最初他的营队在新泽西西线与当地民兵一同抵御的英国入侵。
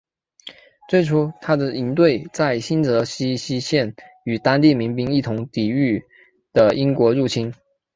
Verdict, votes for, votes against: accepted, 3, 0